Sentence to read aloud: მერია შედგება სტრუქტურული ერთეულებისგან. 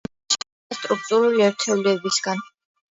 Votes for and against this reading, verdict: 0, 2, rejected